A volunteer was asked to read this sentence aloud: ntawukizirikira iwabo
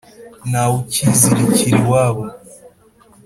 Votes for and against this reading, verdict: 3, 0, accepted